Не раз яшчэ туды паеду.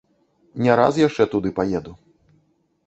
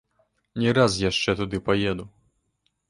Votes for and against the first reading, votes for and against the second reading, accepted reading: 2, 0, 0, 2, first